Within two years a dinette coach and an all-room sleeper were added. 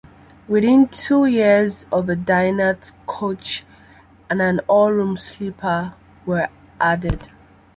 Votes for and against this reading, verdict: 1, 2, rejected